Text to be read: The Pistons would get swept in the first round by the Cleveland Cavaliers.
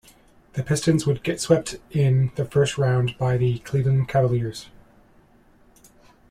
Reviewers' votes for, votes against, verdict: 2, 0, accepted